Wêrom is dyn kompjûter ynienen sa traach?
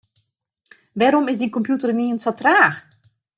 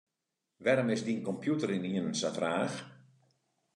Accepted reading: second